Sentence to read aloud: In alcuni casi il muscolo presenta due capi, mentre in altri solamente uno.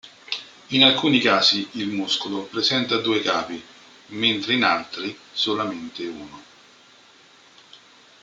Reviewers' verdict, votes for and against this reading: rejected, 0, 2